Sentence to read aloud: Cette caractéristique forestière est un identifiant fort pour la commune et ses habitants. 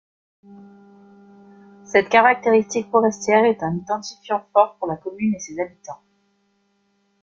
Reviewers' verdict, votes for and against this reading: accepted, 2, 0